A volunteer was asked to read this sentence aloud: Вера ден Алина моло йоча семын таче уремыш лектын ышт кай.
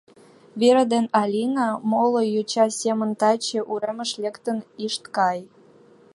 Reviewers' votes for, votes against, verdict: 0, 2, rejected